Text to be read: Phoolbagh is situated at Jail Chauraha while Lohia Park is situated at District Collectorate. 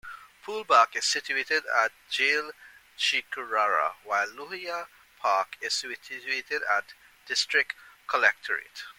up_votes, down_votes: 1, 2